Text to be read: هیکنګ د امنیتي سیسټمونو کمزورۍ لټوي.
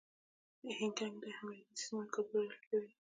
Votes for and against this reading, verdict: 2, 1, accepted